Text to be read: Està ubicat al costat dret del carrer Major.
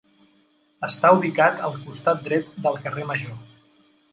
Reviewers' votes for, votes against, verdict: 3, 0, accepted